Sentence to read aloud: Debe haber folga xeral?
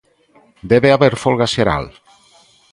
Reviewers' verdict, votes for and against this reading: accepted, 2, 0